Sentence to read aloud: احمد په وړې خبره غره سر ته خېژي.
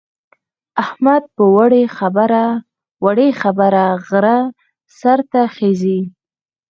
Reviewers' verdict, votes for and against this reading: accepted, 4, 0